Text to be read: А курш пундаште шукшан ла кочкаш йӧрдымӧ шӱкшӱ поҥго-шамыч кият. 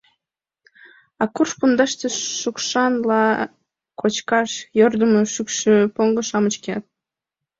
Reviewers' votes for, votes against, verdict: 2, 1, accepted